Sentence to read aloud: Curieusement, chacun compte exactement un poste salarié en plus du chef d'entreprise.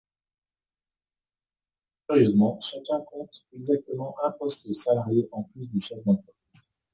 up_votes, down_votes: 1, 2